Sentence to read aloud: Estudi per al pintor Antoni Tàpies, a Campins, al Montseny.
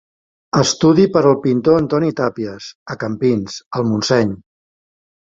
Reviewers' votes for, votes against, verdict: 3, 0, accepted